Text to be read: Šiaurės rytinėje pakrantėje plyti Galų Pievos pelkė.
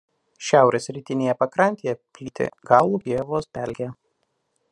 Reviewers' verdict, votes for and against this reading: rejected, 0, 2